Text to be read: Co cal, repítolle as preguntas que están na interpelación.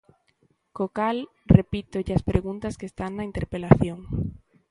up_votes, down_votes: 2, 0